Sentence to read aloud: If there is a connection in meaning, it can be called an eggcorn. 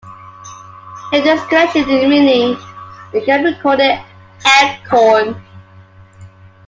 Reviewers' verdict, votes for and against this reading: rejected, 1, 2